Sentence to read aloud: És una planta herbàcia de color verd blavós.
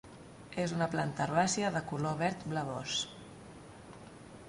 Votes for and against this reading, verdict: 2, 0, accepted